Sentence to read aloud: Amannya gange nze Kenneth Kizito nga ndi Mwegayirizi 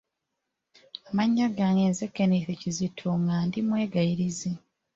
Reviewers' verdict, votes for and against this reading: rejected, 1, 2